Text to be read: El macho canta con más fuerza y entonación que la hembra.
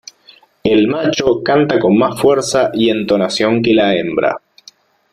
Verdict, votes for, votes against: accepted, 2, 0